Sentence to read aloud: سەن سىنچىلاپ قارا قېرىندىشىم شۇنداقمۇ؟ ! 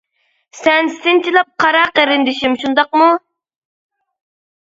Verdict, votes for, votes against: accepted, 2, 0